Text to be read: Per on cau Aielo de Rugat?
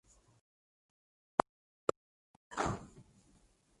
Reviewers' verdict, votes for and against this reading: rejected, 0, 6